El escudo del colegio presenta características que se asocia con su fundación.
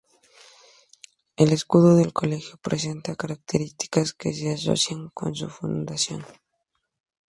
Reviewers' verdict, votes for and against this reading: accepted, 2, 0